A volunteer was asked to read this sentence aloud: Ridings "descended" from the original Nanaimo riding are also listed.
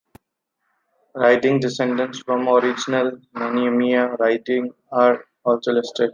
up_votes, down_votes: 0, 2